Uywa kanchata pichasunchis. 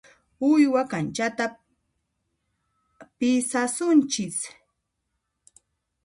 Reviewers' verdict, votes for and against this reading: rejected, 1, 2